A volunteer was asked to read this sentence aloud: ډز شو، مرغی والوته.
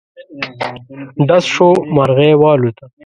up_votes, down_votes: 1, 2